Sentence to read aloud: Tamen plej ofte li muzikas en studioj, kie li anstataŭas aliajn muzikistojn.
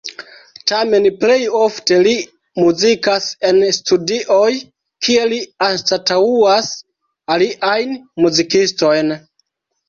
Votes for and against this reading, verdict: 1, 2, rejected